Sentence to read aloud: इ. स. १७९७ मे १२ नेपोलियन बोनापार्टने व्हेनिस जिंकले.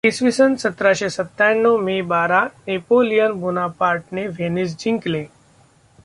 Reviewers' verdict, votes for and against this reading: rejected, 0, 2